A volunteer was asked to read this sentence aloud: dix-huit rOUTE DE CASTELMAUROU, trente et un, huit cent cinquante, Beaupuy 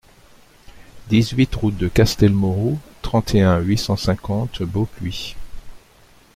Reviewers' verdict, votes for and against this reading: accepted, 2, 0